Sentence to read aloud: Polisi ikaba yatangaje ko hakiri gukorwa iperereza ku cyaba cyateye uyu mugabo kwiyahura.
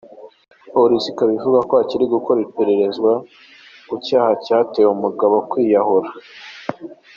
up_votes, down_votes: 0, 2